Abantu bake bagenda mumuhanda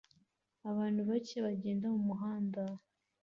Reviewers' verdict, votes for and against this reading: accepted, 2, 0